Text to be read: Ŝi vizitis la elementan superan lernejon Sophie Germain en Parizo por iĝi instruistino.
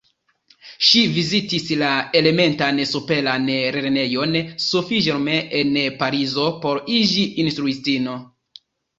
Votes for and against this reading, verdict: 1, 2, rejected